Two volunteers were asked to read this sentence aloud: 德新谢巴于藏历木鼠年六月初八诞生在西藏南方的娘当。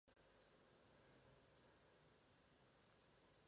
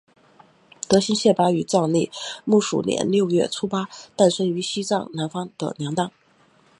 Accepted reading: second